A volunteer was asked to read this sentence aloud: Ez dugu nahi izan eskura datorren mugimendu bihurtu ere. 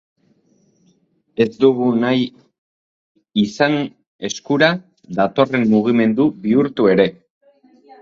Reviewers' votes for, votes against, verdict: 1, 2, rejected